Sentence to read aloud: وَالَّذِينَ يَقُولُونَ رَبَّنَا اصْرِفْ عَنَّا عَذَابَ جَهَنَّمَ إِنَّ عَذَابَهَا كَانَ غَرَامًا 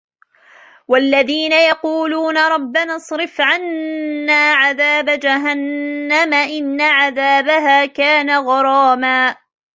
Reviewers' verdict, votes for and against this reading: accepted, 2, 1